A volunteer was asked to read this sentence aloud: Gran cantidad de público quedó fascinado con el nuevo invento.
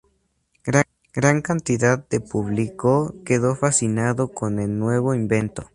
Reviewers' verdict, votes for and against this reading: rejected, 0, 2